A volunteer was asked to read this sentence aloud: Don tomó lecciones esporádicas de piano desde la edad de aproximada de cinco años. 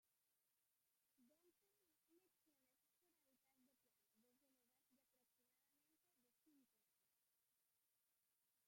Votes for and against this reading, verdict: 0, 2, rejected